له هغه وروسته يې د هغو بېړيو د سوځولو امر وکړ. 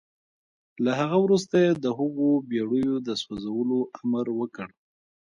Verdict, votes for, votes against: accepted, 2, 1